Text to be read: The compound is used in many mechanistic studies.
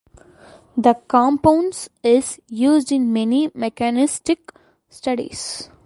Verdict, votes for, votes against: rejected, 1, 2